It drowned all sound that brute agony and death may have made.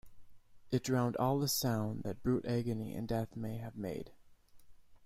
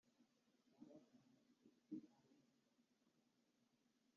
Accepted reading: first